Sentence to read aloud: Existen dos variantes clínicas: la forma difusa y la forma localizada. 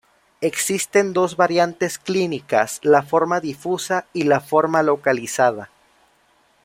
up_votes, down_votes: 2, 0